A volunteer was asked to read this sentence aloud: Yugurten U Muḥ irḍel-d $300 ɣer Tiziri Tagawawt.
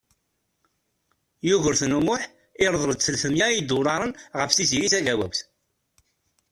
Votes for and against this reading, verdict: 0, 2, rejected